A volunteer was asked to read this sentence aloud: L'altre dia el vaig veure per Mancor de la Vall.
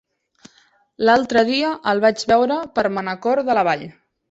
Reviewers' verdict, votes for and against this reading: rejected, 0, 2